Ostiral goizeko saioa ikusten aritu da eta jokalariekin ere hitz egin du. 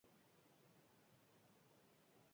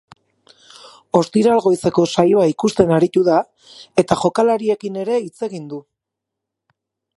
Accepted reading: second